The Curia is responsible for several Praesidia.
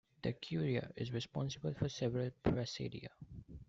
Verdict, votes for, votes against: rejected, 1, 2